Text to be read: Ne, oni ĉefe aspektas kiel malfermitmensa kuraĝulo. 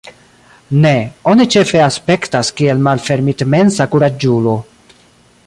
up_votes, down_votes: 2, 0